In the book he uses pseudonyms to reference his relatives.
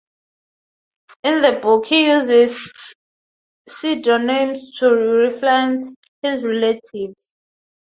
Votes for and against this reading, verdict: 3, 0, accepted